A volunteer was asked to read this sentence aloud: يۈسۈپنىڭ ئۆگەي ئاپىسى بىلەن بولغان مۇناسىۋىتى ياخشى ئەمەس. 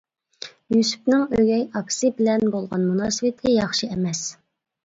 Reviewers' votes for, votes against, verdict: 2, 0, accepted